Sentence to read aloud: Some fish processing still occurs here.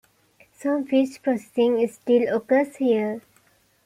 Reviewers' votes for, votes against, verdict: 1, 2, rejected